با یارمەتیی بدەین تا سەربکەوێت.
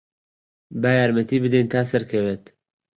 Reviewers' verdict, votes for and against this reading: rejected, 1, 3